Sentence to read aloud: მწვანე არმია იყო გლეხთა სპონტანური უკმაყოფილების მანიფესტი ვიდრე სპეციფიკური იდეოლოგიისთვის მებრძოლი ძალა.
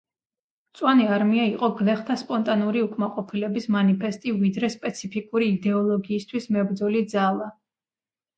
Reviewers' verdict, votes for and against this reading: accepted, 2, 0